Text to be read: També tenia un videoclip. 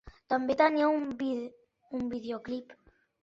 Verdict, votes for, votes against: rejected, 1, 2